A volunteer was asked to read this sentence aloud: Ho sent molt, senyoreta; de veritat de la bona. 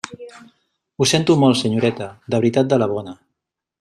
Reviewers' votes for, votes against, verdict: 1, 2, rejected